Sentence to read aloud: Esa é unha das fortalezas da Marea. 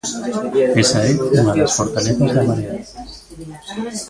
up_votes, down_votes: 0, 2